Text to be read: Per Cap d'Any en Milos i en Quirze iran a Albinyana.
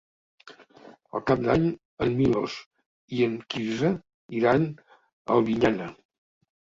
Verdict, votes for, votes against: accepted, 3, 0